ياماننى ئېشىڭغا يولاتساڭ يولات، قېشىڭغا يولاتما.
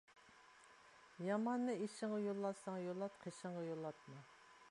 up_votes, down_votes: 1, 2